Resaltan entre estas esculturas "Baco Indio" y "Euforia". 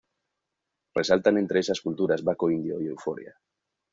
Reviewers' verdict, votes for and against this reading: rejected, 0, 2